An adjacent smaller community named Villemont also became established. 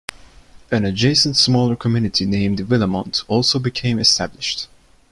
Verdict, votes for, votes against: accepted, 2, 0